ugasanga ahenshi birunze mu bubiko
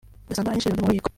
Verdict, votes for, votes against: rejected, 1, 2